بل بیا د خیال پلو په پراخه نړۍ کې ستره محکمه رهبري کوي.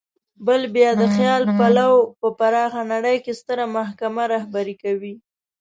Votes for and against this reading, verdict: 2, 0, accepted